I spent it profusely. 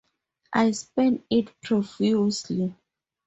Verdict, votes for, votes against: accepted, 4, 0